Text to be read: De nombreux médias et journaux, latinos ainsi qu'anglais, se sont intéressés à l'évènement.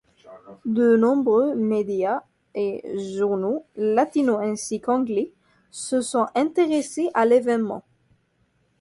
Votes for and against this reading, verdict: 2, 0, accepted